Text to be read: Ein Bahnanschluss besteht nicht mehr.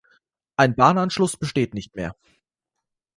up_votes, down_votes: 2, 0